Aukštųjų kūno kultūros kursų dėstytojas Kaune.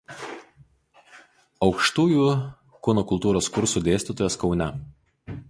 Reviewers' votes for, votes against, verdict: 2, 2, rejected